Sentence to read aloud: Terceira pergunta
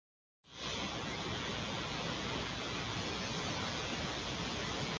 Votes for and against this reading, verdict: 0, 2, rejected